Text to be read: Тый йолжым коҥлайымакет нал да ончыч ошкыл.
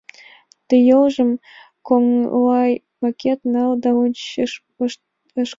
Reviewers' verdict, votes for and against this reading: accepted, 2, 1